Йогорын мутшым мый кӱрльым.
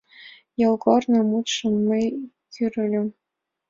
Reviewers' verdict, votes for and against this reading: accepted, 2, 0